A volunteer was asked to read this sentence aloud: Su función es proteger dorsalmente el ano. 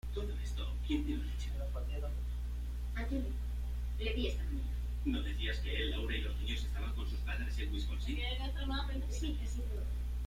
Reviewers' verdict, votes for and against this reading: rejected, 1, 2